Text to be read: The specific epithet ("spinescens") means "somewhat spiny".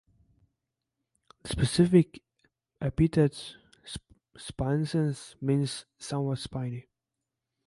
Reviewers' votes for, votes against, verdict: 1, 2, rejected